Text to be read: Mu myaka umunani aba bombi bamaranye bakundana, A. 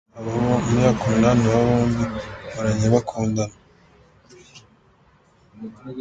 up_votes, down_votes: 1, 2